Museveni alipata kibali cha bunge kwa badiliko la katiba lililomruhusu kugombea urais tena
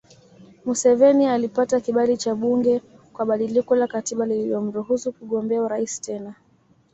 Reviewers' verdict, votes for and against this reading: accepted, 2, 0